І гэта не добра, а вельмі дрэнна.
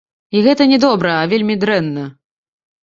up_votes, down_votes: 2, 0